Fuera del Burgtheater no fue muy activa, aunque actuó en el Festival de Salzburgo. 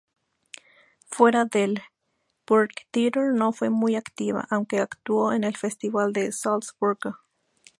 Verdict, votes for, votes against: accepted, 2, 0